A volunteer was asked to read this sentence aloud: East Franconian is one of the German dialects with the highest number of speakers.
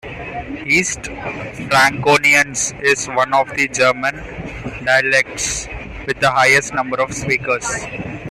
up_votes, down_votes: 2, 1